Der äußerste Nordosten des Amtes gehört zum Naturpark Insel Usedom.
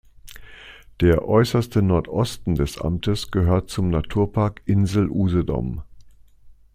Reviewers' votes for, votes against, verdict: 2, 0, accepted